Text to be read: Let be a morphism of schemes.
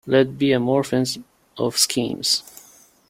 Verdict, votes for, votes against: rejected, 1, 2